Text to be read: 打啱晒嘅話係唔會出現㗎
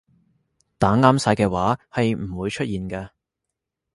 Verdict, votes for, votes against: accepted, 2, 0